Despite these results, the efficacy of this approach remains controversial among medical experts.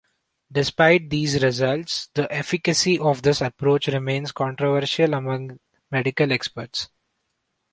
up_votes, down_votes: 2, 0